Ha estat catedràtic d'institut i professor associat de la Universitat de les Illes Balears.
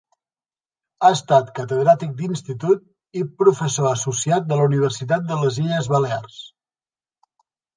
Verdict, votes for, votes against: accepted, 3, 0